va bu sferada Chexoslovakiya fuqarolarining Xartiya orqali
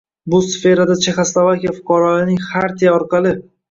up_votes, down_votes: 1, 2